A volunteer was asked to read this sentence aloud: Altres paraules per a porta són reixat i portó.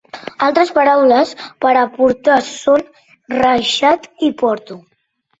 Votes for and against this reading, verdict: 1, 2, rejected